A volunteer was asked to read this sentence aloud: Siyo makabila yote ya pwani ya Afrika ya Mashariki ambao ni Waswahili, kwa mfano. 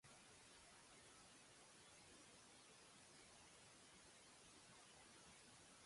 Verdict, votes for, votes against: rejected, 0, 2